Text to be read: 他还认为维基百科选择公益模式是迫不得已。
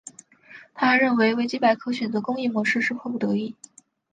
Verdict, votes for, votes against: accepted, 2, 0